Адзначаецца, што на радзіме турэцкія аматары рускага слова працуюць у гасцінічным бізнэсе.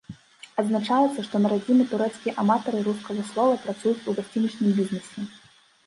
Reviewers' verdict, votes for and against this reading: accepted, 2, 0